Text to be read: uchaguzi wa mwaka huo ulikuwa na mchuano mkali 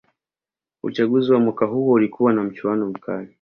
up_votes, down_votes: 2, 0